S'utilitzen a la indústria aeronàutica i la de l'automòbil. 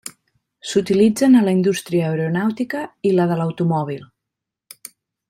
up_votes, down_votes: 3, 0